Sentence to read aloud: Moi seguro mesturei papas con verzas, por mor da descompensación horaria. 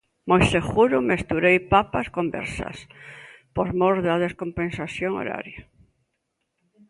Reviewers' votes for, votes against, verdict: 2, 0, accepted